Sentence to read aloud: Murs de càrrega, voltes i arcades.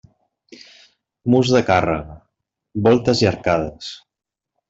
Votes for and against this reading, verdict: 1, 2, rejected